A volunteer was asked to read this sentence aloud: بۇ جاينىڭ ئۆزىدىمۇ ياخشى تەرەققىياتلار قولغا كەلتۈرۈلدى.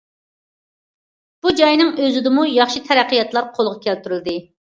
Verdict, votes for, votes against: accepted, 2, 0